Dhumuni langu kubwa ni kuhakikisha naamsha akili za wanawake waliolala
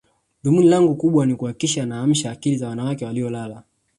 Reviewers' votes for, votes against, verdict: 2, 0, accepted